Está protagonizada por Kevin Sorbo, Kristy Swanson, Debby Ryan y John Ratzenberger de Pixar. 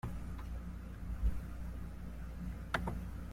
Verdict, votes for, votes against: rejected, 0, 2